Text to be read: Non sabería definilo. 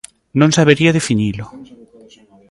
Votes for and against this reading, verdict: 2, 0, accepted